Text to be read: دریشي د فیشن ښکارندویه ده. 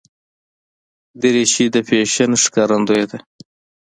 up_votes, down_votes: 2, 0